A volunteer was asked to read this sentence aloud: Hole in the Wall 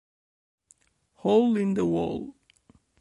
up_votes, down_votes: 2, 0